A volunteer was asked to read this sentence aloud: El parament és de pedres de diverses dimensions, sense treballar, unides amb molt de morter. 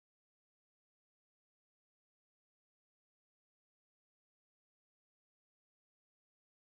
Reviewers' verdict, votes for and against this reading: rejected, 0, 2